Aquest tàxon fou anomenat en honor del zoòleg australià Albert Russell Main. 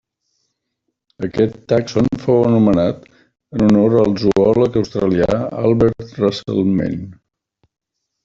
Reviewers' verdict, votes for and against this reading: rejected, 0, 2